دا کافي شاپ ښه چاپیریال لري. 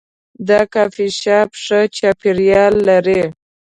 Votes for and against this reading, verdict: 2, 1, accepted